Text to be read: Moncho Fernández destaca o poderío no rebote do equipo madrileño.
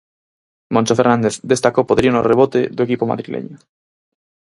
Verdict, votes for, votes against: accepted, 4, 0